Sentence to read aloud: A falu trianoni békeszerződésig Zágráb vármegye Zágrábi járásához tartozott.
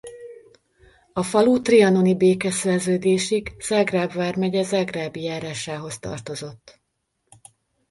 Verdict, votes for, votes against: accepted, 2, 0